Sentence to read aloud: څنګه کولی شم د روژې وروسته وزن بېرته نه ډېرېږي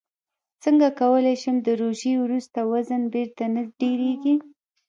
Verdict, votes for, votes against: rejected, 0, 2